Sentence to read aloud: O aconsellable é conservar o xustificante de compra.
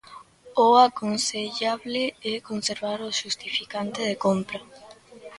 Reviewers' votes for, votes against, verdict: 2, 0, accepted